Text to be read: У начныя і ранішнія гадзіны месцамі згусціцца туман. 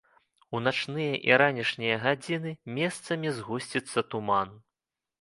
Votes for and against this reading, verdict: 2, 0, accepted